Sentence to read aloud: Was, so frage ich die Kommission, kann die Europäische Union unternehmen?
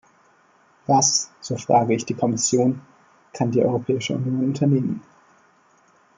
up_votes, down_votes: 1, 2